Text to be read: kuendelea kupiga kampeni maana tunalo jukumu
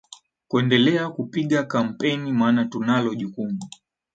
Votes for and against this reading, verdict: 4, 0, accepted